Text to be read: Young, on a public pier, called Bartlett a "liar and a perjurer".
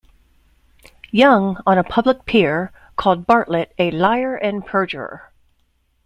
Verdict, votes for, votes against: rejected, 0, 2